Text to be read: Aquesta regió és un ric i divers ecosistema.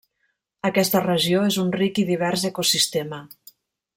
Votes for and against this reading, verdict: 2, 0, accepted